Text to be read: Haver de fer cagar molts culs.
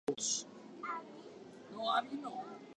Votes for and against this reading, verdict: 1, 2, rejected